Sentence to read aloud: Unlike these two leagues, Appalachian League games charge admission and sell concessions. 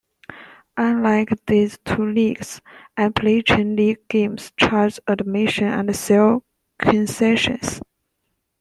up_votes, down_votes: 1, 2